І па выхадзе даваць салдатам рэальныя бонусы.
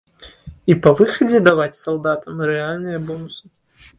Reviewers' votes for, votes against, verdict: 2, 0, accepted